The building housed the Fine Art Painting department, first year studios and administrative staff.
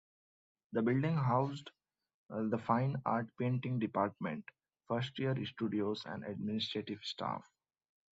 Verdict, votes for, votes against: accepted, 2, 0